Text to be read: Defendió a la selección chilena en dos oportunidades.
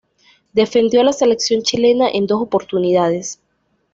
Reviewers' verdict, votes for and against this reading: accepted, 2, 0